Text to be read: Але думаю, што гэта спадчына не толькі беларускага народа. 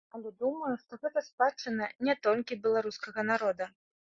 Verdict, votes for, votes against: rejected, 0, 2